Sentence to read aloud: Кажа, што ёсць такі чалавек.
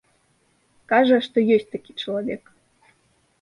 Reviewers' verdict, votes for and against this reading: accepted, 2, 0